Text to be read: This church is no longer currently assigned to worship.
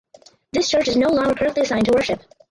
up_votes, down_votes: 2, 4